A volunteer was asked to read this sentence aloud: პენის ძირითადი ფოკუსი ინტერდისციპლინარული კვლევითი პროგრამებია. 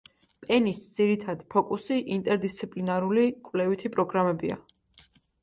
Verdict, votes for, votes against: accepted, 2, 1